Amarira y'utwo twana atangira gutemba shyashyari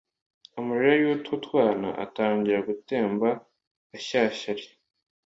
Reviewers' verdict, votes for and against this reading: accepted, 2, 0